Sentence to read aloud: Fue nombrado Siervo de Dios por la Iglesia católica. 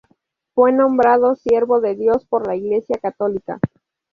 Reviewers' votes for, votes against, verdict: 2, 0, accepted